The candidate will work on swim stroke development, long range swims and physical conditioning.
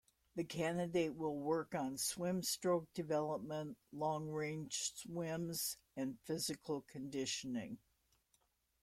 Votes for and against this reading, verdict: 2, 0, accepted